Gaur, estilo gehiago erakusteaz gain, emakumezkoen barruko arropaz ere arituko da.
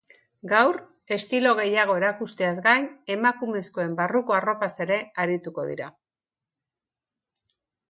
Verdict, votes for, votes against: rejected, 1, 3